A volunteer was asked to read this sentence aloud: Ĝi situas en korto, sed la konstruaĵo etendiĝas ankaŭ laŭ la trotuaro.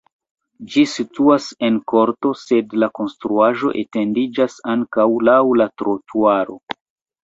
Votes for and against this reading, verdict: 2, 0, accepted